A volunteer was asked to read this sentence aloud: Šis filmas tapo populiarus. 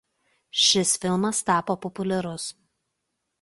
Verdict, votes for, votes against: accepted, 2, 0